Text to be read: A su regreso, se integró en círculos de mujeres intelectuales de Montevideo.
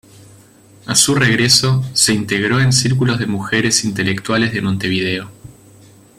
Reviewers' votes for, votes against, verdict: 2, 0, accepted